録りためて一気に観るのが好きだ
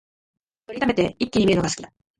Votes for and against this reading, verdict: 2, 1, accepted